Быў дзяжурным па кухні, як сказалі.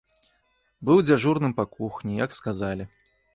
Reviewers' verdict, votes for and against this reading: accepted, 2, 1